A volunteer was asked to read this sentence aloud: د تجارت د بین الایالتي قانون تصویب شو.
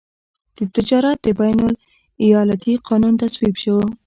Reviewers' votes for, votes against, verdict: 1, 2, rejected